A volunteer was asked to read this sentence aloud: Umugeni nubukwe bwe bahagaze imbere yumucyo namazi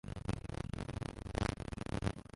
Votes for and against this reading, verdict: 0, 2, rejected